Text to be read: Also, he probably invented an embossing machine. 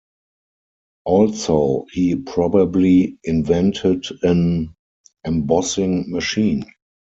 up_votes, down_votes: 0, 4